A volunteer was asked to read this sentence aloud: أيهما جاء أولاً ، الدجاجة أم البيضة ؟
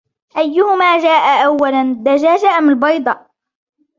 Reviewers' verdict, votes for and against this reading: rejected, 1, 2